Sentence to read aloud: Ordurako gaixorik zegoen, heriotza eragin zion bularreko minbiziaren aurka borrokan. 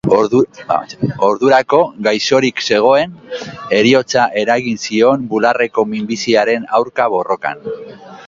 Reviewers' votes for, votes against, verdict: 2, 0, accepted